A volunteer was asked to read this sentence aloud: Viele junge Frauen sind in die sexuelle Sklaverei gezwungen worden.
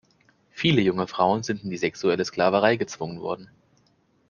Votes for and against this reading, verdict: 2, 0, accepted